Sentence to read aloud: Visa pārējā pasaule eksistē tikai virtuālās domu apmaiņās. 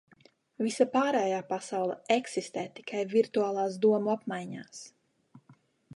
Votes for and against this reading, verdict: 2, 1, accepted